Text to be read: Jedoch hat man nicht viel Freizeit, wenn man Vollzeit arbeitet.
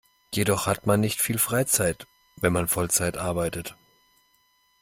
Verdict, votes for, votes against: accepted, 2, 0